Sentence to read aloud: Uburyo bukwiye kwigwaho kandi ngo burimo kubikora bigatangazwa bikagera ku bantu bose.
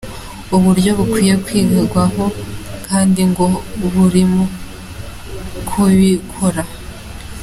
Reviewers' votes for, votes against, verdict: 0, 2, rejected